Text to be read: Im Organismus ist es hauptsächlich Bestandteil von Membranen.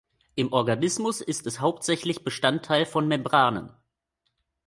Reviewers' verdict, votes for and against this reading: accepted, 2, 0